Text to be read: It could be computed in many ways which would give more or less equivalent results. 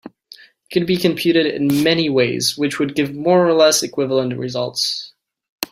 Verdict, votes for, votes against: accepted, 2, 0